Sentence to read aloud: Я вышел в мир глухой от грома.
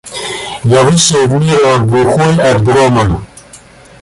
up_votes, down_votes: 1, 2